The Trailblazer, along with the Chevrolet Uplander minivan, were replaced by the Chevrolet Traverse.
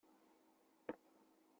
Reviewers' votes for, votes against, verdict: 0, 2, rejected